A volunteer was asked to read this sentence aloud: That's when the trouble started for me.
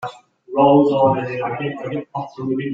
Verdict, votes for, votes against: rejected, 0, 2